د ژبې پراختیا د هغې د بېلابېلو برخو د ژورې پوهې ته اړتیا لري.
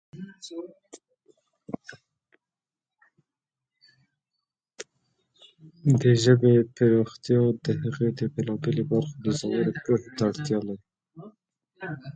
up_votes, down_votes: 0, 2